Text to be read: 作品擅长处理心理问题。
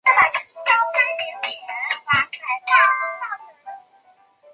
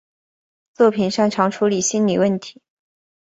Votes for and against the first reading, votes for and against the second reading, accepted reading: 0, 4, 3, 0, second